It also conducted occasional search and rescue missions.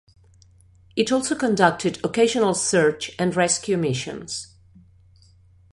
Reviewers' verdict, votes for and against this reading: accepted, 2, 0